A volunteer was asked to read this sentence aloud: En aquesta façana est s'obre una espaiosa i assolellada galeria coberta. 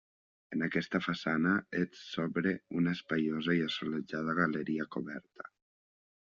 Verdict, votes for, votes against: rejected, 1, 2